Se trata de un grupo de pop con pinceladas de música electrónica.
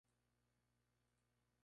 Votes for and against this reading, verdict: 0, 2, rejected